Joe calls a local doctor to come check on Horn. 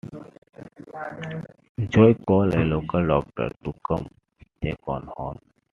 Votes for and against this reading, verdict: 2, 1, accepted